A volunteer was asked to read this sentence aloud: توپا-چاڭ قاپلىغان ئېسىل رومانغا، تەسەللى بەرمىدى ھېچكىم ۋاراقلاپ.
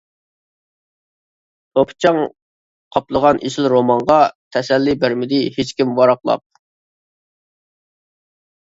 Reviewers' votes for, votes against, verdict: 0, 2, rejected